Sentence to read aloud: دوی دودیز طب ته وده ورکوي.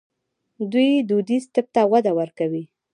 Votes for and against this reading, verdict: 1, 2, rejected